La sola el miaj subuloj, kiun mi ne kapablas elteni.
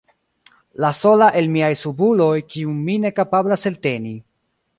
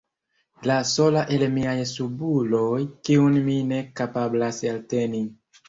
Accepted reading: first